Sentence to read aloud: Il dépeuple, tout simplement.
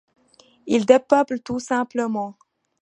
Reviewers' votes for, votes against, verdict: 2, 0, accepted